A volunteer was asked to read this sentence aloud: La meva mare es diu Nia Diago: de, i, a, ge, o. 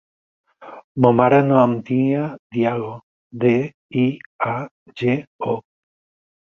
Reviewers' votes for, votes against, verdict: 0, 6, rejected